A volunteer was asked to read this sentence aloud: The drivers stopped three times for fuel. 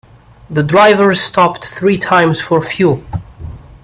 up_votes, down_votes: 2, 0